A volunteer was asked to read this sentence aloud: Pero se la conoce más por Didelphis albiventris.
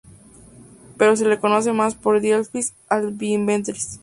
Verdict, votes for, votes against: rejected, 0, 2